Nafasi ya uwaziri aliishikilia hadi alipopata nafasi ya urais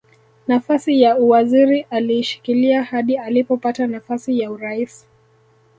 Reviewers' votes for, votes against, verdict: 2, 1, accepted